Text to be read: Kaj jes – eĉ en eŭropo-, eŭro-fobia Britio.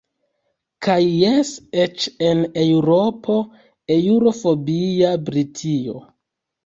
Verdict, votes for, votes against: rejected, 1, 2